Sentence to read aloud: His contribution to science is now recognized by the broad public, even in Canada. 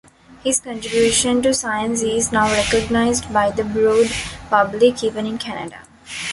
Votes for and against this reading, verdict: 1, 2, rejected